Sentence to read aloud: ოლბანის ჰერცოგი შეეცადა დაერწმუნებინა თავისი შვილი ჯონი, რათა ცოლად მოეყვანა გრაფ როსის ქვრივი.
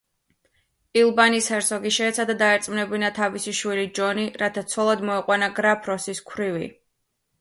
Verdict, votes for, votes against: rejected, 1, 2